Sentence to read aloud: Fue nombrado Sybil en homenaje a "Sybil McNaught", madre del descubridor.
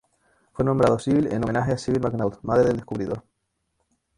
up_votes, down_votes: 2, 2